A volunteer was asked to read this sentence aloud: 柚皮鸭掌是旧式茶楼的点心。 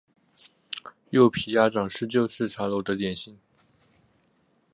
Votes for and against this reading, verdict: 2, 0, accepted